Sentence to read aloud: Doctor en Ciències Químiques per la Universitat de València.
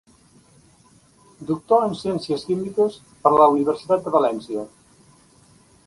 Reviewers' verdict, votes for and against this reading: accepted, 2, 0